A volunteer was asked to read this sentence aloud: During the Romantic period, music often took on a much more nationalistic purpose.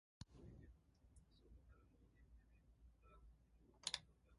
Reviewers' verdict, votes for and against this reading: rejected, 0, 2